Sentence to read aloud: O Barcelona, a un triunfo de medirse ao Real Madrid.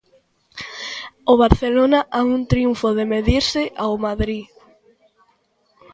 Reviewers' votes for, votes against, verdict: 0, 2, rejected